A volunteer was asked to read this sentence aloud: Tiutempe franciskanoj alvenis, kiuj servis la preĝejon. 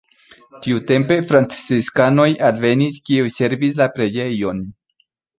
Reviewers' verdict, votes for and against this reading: accepted, 2, 0